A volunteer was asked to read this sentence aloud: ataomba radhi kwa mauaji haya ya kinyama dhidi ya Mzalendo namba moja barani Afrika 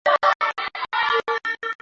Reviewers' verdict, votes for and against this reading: rejected, 0, 2